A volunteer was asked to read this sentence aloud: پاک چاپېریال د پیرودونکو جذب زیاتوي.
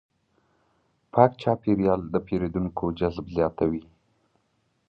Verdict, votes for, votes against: accepted, 3, 0